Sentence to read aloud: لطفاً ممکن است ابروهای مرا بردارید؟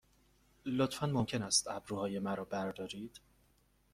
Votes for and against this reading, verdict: 2, 0, accepted